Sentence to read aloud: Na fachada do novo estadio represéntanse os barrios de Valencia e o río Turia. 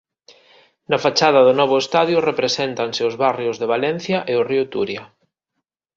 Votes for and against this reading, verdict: 2, 0, accepted